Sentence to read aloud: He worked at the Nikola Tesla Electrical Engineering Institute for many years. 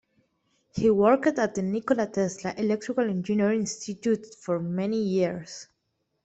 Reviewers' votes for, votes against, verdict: 2, 0, accepted